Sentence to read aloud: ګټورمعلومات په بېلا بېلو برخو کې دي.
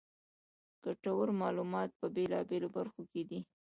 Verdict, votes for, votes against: rejected, 0, 2